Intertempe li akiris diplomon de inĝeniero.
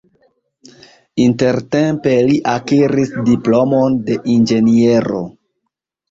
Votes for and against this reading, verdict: 1, 2, rejected